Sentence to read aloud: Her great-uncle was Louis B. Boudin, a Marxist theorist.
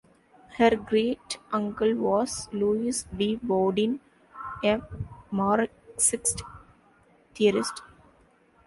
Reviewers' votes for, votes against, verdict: 2, 0, accepted